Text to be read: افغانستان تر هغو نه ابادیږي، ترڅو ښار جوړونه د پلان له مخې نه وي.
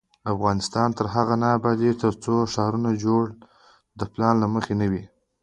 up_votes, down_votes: 2, 0